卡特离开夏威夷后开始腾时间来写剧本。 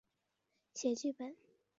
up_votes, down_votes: 2, 4